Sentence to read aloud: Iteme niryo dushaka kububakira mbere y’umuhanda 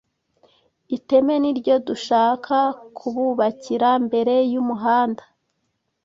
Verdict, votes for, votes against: accepted, 2, 0